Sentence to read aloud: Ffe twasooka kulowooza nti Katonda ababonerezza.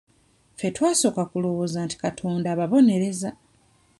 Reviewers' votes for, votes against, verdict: 1, 2, rejected